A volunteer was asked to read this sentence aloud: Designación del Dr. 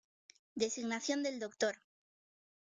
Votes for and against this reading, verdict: 1, 2, rejected